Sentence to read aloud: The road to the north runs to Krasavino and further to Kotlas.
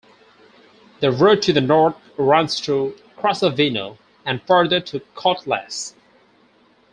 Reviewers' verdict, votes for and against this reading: rejected, 2, 2